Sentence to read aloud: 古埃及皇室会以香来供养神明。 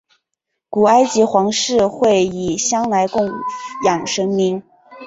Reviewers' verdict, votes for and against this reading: accepted, 3, 0